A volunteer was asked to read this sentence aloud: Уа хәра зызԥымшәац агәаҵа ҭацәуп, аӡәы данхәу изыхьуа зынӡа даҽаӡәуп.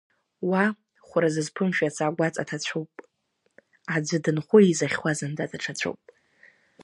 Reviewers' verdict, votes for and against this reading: rejected, 1, 2